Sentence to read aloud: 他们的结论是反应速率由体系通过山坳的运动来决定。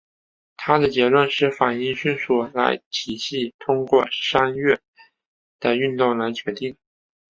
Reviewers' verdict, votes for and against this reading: rejected, 0, 2